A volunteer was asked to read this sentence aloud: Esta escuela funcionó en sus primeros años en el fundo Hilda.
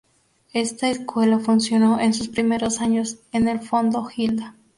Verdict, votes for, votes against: rejected, 0, 2